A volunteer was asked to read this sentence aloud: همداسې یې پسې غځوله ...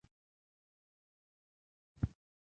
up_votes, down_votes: 0, 2